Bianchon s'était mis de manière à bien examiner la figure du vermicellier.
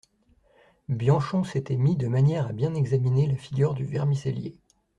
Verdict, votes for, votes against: accepted, 2, 0